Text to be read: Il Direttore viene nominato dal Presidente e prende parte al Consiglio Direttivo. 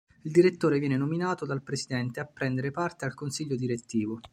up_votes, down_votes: 0, 2